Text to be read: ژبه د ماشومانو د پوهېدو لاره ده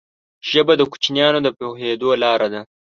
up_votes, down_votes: 0, 2